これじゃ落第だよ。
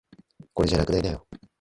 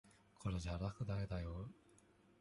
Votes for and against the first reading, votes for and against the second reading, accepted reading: 1, 2, 2, 1, second